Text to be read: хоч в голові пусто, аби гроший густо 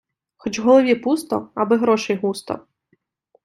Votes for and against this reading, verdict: 2, 0, accepted